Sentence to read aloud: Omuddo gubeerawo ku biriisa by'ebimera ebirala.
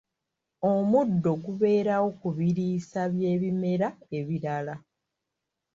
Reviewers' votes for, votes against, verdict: 2, 0, accepted